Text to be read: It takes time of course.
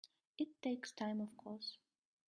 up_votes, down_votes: 0, 2